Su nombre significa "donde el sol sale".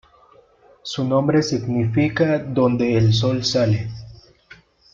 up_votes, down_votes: 0, 2